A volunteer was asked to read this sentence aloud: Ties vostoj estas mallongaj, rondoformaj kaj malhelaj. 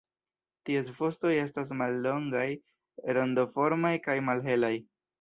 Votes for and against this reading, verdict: 0, 2, rejected